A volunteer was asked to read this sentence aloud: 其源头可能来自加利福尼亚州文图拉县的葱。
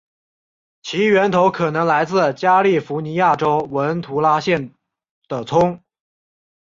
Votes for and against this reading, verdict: 2, 0, accepted